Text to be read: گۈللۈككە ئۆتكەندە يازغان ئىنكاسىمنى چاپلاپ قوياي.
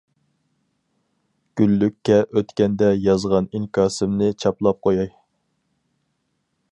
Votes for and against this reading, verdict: 4, 0, accepted